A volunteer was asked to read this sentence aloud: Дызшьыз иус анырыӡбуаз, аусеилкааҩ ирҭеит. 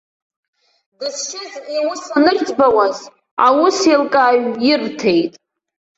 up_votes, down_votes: 1, 2